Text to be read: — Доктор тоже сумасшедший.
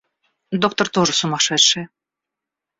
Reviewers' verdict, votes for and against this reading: accepted, 2, 0